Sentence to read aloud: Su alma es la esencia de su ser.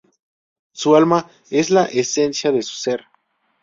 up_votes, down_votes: 2, 0